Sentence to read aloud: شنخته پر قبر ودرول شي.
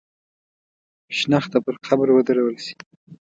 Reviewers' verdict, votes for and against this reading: accepted, 2, 0